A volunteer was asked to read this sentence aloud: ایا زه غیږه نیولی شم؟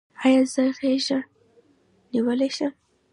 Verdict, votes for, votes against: accepted, 2, 0